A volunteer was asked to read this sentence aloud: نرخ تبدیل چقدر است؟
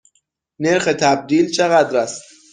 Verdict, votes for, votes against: accepted, 6, 0